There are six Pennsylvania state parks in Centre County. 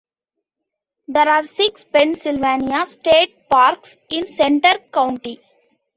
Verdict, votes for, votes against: accepted, 2, 1